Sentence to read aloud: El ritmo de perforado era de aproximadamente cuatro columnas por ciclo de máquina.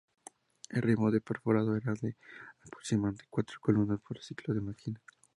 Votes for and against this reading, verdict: 2, 0, accepted